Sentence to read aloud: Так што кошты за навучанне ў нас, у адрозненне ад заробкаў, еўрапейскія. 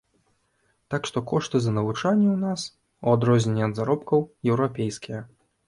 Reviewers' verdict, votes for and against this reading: accepted, 2, 0